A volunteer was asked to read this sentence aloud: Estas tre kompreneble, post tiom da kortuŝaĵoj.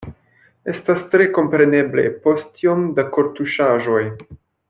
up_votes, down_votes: 2, 0